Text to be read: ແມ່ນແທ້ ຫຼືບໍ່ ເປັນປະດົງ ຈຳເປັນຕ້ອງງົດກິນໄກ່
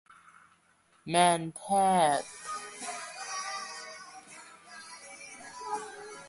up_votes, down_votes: 0, 2